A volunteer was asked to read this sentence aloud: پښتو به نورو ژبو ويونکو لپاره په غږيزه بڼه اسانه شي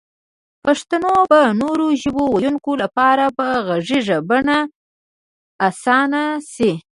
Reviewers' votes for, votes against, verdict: 2, 3, rejected